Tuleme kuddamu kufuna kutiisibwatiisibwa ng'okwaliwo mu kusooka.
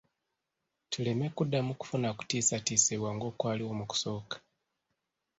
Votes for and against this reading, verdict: 0, 2, rejected